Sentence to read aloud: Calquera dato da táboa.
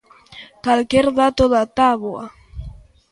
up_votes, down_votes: 0, 2